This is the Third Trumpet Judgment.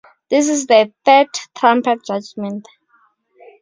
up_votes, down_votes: 2, 0